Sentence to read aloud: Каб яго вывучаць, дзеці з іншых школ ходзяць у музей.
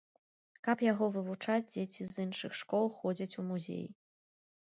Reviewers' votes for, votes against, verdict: 2, 0, accepted